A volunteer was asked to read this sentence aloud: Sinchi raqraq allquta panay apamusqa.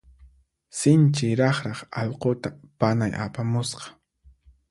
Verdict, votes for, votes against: accepted, 4, 0